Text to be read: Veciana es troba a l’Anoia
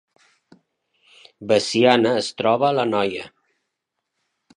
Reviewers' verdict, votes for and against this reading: accepted, 5, 0